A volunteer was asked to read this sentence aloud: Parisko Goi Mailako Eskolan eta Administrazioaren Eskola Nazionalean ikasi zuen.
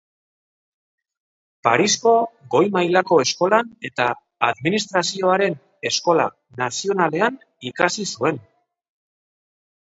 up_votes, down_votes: 4, 0